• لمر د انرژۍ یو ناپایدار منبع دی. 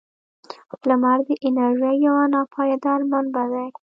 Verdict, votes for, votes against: accepted, 2, 1